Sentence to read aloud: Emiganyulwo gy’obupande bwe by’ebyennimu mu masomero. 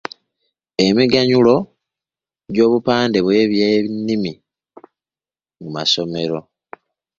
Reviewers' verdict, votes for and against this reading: accepted, 2, 0